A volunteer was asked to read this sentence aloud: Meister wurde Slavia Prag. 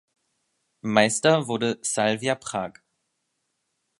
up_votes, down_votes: 0, 2